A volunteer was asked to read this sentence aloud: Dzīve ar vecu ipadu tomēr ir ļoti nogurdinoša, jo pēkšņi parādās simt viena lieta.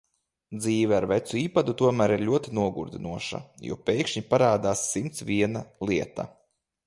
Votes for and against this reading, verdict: 0, 2, rejected